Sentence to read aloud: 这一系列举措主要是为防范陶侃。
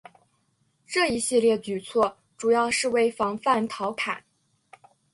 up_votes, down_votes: 2, 1